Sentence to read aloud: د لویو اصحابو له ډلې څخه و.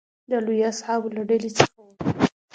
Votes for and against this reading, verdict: 2, 0, accepted